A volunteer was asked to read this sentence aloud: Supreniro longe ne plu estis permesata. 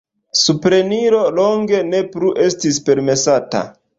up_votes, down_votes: 2, 0